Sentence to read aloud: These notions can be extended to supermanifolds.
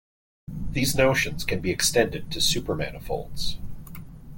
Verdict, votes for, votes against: accepted, 3, 0